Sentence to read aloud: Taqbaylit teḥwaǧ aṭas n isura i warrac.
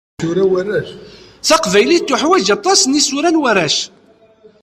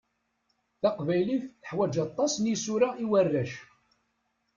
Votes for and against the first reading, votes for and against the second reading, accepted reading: 1, 2, 2, 0, second